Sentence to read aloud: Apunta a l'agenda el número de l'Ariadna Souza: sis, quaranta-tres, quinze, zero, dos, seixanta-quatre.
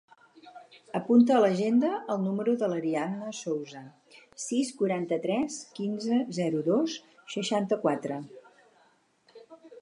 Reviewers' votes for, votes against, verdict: 4, 0, accepted